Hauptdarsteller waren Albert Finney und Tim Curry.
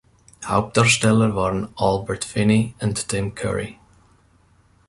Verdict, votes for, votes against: rejected, 0, 2